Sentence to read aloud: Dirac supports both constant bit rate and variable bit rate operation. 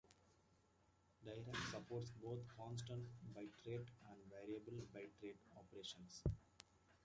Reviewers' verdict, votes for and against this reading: rejected, 1, 2